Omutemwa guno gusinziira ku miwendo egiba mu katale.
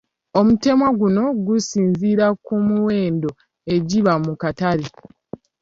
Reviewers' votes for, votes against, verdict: 2, 1, accepted